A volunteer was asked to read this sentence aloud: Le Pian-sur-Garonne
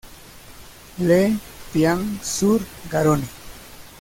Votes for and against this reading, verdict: 2, 0, accepted